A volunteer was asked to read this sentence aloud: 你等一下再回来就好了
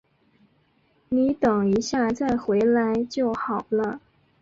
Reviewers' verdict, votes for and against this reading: accepted, 4, 0